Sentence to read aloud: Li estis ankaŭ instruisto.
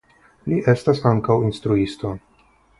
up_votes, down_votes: 0, 3